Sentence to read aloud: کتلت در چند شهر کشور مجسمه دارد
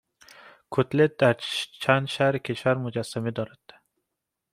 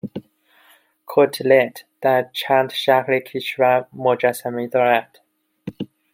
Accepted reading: first